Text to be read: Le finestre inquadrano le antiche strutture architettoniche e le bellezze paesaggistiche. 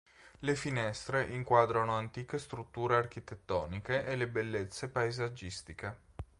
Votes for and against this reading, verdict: 1, 3, rejected